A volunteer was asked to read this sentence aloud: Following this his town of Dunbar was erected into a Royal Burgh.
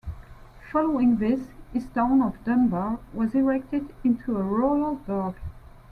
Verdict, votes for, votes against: accepted, 2, 1